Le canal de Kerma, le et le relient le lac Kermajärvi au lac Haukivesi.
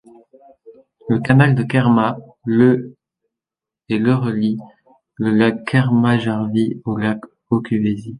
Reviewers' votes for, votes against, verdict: 2, 0, accepted